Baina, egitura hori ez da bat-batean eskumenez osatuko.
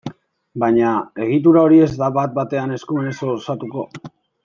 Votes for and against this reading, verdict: 0, 2, rejected